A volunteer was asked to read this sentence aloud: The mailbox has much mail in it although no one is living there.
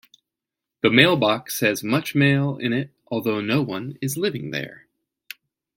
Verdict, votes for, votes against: accepted, 2, 0